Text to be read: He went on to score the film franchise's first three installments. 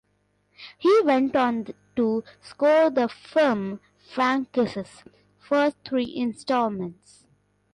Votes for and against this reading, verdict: 2, 0, accepted